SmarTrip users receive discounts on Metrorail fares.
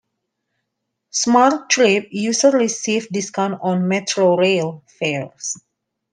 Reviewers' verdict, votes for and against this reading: rejected, 0, 2